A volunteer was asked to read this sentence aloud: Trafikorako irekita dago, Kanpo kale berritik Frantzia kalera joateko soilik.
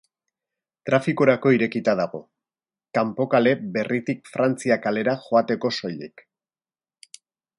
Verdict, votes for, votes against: accepted, 2, 0